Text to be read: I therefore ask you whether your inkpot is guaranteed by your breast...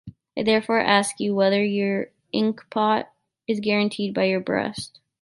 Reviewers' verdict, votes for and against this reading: accepted, 2, 1